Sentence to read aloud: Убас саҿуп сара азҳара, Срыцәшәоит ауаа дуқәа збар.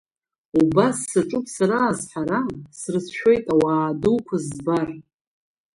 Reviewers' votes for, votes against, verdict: 0, 2, rejected